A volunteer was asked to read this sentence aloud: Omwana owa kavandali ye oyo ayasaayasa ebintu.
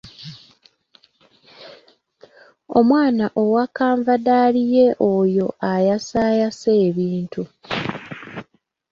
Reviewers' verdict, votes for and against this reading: accepted, 2, 0